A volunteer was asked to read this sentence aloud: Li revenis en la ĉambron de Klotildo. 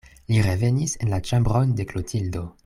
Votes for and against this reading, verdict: 2, 0, accepted